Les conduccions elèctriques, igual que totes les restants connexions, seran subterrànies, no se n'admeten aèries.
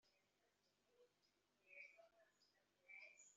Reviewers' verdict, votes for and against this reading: rejected, 0, 2